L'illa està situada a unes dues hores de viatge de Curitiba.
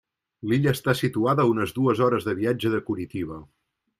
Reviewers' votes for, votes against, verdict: 2, 1, accepted